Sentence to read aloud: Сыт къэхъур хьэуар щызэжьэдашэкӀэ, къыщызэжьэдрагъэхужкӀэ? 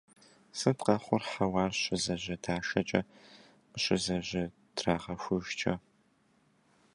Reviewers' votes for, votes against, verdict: 1, 2, rejected